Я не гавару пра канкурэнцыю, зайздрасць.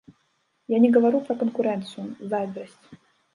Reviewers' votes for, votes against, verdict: 1, 2, rejected